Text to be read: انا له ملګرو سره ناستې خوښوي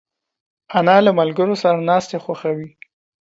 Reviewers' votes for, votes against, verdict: 2, 0, accepted